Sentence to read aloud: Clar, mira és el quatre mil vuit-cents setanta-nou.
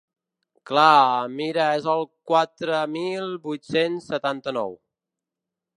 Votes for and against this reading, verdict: 1, 2, rejected